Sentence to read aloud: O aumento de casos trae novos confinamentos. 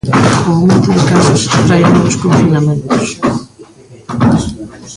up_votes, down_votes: 1, 2